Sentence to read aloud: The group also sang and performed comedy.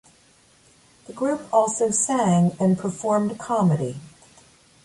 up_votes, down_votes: 2, 0